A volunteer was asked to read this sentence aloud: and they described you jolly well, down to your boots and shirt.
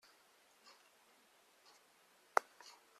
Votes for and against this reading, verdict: 0, 2, rejected